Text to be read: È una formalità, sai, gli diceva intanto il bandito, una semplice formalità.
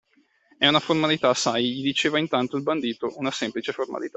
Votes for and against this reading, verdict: 1, 2, rejected